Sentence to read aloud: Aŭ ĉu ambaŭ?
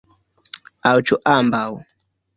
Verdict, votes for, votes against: rejected, 1, 2